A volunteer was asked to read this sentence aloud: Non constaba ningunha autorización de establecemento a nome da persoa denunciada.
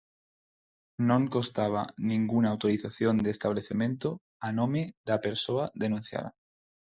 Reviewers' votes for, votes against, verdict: 0, 4, rejected